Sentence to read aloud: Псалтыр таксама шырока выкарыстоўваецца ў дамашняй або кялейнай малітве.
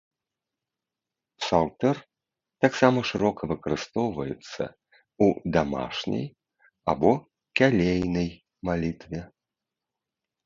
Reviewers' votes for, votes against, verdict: 2, 0, accepted